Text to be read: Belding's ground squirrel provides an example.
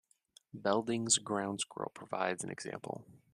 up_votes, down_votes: 2, 0